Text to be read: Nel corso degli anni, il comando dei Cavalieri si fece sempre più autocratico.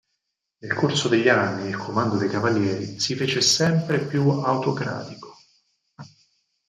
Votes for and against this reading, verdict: 4, 2, accepted